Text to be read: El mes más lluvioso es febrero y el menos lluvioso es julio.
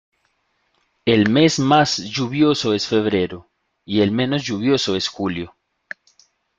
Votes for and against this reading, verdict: 2, 0, accepted